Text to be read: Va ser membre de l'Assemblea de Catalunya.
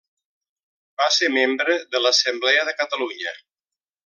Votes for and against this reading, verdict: 1, 2, rejected